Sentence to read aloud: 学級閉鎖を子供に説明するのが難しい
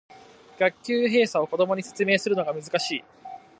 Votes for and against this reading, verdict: 2, 1, accepted